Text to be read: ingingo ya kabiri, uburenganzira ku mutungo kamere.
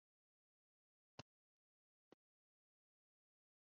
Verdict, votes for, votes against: rejected, 1, 2